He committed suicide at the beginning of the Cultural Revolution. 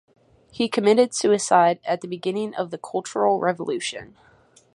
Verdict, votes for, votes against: accepted, 2, 0